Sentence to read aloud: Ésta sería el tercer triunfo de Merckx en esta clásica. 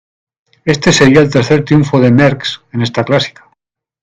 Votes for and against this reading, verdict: 1, 2, rejected